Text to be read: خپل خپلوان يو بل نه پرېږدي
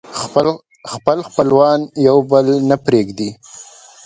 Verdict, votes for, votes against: accepted, 2, 1